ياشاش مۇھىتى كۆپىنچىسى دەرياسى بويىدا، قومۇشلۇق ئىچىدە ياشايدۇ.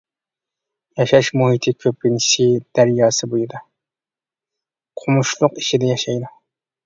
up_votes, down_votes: 2, 0